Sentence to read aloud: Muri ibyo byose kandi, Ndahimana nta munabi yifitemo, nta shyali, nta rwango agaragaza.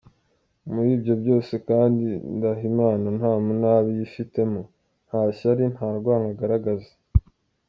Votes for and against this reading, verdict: 2, 0, accepted